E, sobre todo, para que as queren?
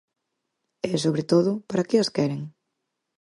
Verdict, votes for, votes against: accepted, 4, 0